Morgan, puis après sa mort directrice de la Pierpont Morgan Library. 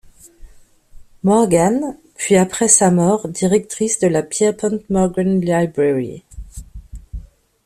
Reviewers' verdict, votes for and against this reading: rejected, 1, 2